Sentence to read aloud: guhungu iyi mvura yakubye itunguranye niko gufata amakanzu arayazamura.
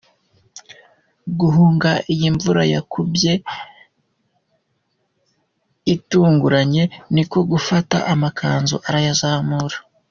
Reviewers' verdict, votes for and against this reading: accepted, 2, 1